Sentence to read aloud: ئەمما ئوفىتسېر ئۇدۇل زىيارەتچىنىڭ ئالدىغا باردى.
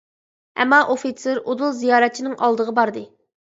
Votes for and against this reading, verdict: 2, 0, accepted